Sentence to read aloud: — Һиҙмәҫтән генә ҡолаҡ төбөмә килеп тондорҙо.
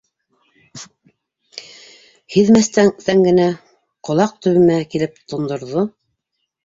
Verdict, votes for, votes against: rejected, 0, 2